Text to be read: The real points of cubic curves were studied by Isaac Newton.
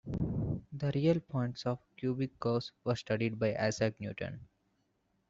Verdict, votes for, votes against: accepted, 2, 0